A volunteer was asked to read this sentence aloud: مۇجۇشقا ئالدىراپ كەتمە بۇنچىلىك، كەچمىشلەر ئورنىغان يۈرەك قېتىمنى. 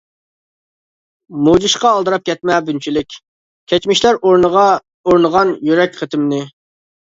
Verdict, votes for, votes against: rejected, 0, 2